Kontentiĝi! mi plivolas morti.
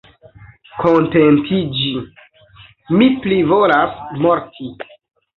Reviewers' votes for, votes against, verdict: 1, 2, rejected